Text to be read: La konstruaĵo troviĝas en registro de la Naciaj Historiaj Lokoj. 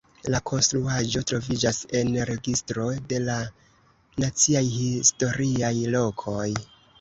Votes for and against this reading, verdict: 2, 1, accepted